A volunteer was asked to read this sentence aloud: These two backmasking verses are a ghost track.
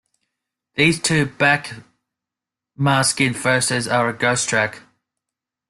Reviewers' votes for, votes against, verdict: 1, 2, rejected